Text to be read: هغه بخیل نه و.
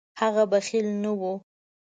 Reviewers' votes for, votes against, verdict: 2, 0, accepted